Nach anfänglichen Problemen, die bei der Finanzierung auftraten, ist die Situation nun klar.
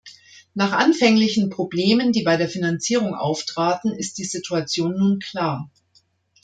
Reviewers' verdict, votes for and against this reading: accepted, 2, 0